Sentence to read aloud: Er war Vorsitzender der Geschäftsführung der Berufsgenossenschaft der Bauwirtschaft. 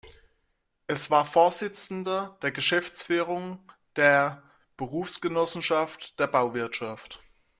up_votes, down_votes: 0, 2